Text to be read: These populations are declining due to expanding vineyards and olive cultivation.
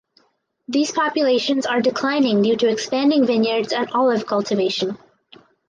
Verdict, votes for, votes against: accepted, 4, 0